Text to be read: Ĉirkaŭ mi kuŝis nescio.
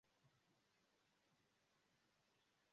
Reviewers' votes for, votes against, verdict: 0, 2, rejected